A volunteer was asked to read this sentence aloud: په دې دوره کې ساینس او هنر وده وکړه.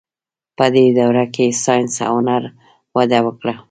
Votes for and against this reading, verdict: 0, 2, rejected